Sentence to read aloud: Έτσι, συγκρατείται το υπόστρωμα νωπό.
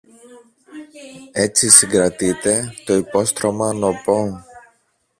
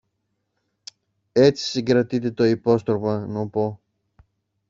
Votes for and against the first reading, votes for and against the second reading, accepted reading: 0, 2, 2, 0, second